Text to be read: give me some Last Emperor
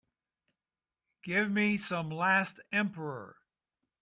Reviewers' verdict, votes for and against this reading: accepted, 3, 0